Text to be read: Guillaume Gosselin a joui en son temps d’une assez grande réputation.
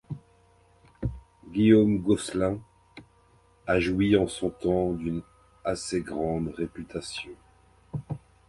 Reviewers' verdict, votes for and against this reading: accepted, 2, 1